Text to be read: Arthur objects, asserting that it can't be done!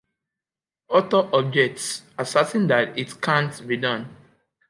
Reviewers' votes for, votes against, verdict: 2, 1, accepted